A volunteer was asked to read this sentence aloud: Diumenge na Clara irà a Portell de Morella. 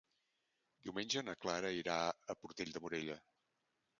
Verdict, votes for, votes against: accepted, 2, 0